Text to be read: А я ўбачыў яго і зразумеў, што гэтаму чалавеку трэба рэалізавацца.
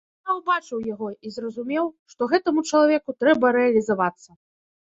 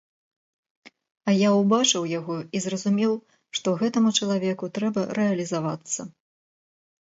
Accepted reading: second